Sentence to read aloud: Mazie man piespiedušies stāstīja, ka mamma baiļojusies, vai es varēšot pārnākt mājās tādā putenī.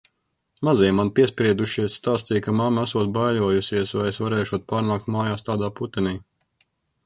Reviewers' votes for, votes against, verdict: 0, 2, rejected